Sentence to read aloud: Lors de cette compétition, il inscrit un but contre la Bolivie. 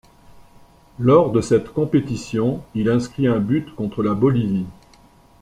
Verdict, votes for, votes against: accepted, 2, 0